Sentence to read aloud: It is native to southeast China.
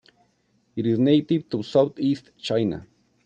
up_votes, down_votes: 2, 1